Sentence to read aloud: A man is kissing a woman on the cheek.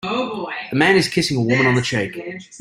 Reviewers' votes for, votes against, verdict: 1, 2, rejected